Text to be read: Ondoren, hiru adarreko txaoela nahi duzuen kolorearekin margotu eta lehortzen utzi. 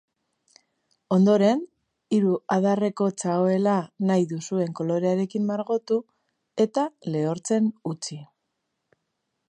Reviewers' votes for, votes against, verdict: 3, 0, accepted